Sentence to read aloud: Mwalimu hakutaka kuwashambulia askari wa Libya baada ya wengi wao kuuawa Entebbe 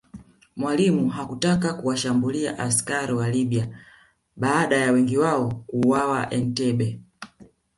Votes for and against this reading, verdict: 2, 0, accepted